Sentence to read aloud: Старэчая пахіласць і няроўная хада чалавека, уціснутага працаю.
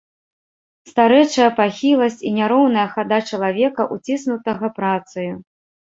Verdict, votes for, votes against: accepted, 2, 0